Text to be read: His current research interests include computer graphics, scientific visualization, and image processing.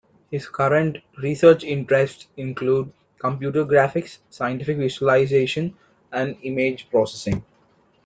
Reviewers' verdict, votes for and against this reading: accepted, 2, 1